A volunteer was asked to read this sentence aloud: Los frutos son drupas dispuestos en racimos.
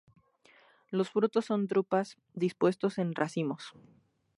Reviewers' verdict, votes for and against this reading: accepted, 2, 0